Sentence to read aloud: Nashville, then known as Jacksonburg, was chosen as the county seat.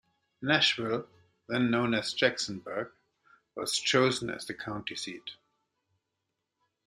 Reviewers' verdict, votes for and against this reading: accepted, 2, 0